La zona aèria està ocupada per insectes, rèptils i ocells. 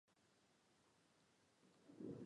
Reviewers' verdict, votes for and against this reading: rejected, 0, 2